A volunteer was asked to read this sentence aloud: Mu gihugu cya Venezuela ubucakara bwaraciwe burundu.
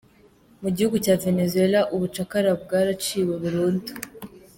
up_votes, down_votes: 2, 0